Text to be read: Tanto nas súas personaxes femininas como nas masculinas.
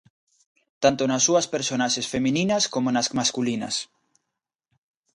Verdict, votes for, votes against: accepted, 2, 0